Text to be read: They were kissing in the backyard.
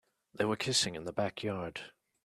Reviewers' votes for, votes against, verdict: 2, 0, accepted